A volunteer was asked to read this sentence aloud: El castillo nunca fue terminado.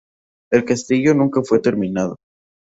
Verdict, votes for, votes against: rejected, 0, 2